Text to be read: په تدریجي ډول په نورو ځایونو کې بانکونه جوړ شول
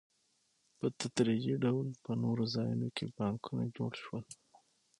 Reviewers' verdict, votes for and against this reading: accepted, 6, 0